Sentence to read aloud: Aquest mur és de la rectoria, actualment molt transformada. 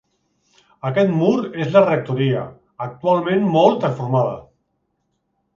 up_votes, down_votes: 1, 2